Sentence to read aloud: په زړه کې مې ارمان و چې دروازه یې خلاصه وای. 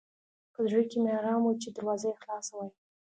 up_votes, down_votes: 2, 0